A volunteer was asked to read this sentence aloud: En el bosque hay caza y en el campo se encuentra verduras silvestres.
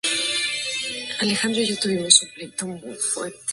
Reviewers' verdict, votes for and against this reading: rejected, 2, 4